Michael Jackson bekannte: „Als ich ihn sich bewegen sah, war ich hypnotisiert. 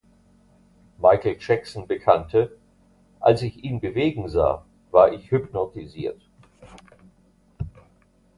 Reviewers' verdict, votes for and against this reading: rejected, 0, 2